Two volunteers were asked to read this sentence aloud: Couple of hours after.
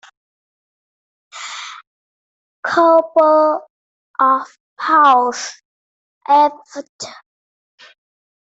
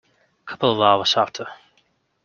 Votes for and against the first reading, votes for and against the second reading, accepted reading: 0, 2, 2, 0, second